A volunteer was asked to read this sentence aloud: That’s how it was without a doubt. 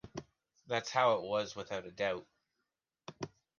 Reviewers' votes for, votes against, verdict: 2, 0, accepted